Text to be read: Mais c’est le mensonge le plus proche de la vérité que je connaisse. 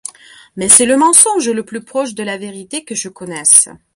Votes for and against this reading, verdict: 2, 0, accepted